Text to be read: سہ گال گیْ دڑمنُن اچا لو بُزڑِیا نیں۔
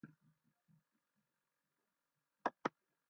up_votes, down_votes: 0, 2